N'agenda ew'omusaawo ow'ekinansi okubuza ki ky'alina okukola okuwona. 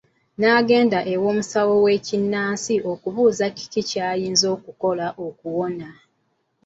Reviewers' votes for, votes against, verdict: 1, 2, rejected